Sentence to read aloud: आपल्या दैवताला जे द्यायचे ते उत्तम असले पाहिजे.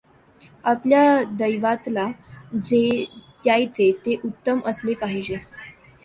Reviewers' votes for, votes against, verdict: 1, 2, rejected